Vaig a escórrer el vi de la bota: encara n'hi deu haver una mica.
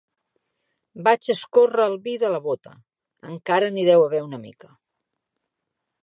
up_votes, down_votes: 2, 0